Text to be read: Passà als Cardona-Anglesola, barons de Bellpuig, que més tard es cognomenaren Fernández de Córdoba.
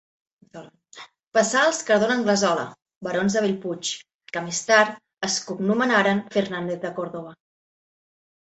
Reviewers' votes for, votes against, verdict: 0, 2, rejected